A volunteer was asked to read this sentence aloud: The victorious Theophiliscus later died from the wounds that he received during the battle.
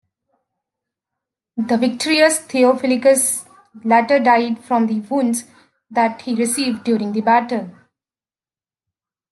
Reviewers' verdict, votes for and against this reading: rejected, 1, 2